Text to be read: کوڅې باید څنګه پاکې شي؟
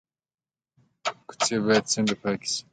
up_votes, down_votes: 1, 2